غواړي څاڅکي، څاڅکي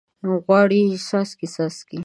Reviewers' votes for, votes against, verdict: 1, 2, rejected